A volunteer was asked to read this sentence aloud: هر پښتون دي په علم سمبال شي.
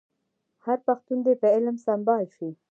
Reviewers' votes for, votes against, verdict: 0, 2, rejected